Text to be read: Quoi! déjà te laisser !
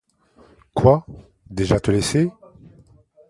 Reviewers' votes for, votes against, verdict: 1, 2, rejected